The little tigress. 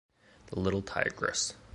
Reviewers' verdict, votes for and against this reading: accepted, 3, 0